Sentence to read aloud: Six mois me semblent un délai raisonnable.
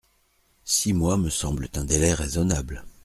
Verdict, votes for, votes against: accepted, 2, 0